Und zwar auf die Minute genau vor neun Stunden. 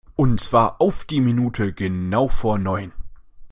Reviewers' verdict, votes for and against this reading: rejected, 0, 2